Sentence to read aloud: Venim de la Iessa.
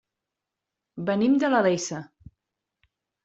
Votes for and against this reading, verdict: 0, 2, rejected